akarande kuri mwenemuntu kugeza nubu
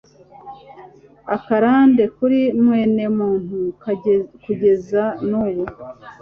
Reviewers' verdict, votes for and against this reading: rejected, 0, 2